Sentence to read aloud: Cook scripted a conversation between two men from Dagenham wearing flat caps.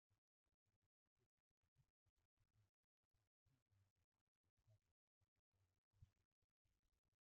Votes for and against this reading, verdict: 0, 2, rejected